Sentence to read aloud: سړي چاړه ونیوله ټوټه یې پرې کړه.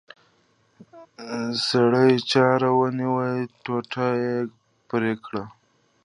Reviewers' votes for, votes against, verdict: 2, 0, accepted